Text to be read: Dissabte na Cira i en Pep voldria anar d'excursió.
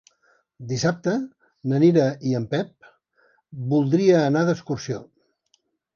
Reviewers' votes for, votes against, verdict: 0, 2, rejected